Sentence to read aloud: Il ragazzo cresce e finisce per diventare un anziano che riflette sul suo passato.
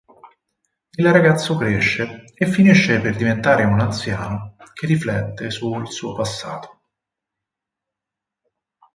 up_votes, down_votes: 4, 0